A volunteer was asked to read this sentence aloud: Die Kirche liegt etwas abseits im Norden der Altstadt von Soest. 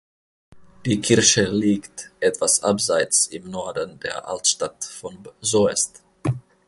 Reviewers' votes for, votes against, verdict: 2, 1, accepted